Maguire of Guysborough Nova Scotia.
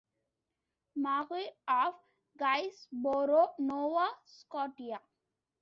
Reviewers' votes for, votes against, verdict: 0, 2, rejected